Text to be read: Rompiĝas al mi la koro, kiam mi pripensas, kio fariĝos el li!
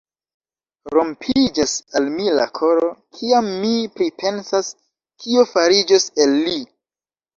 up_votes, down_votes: 2, 1